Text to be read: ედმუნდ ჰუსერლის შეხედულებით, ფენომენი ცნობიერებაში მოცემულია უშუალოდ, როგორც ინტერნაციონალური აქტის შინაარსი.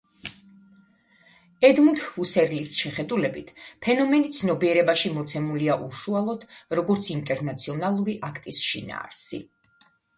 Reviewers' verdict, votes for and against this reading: rejected, 1, 2